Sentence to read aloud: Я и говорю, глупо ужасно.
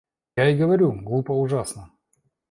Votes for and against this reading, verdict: 1, 2, rejected